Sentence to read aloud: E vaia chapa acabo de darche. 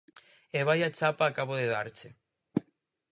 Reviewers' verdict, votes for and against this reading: accepted, 4, 0